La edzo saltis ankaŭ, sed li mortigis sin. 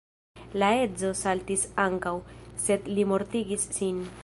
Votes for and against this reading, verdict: 0, 2, rejected